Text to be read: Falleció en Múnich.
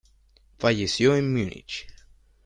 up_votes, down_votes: 3, 0